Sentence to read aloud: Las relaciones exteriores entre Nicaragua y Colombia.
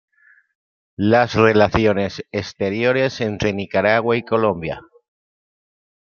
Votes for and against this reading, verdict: 2, 0, accepted